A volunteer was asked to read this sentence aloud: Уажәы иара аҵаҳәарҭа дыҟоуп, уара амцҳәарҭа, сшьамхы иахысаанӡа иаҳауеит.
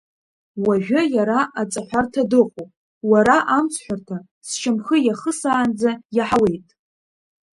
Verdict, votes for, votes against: accepted, 2, 0